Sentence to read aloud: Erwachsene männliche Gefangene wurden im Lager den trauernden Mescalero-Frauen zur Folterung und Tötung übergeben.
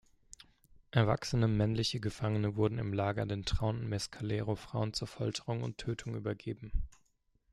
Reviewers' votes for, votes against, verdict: 2, 1, accepted